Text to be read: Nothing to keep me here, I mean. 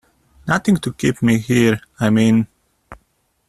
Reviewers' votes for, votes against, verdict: 2, 0, accepted